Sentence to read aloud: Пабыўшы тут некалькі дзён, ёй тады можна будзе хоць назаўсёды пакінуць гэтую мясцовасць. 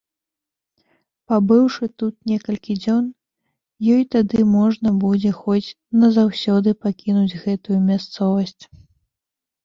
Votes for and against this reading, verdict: 1, 2, rejected